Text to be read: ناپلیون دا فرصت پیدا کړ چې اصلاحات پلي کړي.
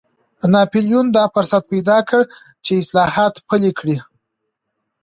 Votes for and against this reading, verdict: 3, 1, accepted